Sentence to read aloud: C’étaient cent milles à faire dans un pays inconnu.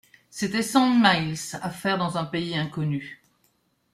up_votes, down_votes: 1, 2